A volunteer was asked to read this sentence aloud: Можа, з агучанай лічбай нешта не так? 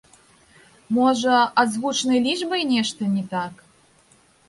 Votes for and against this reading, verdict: 1, 2, rejected